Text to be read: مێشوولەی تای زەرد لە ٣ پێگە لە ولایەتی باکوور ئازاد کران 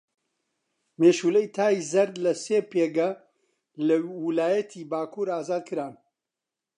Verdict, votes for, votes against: rejected, 0, 2